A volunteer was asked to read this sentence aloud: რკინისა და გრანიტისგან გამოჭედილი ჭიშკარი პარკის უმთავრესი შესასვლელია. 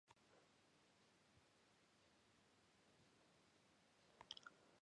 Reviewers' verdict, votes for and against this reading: rejected, 0, 2